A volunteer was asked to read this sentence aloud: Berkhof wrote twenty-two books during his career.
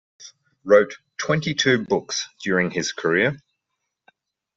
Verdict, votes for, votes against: rejected, 0, 2